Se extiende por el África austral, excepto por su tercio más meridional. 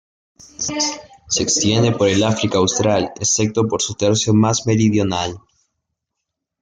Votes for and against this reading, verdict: 1, 3, rejected